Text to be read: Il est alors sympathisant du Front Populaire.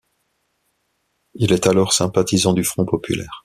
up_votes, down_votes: 2, 0